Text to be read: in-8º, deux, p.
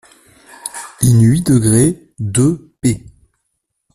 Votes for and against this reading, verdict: 0, 2, rejected